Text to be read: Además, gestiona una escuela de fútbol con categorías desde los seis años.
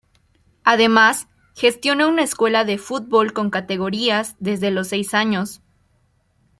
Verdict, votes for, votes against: accepted, 2, 0